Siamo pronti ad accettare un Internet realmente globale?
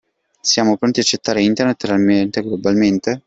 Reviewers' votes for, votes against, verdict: 0, 2, rejected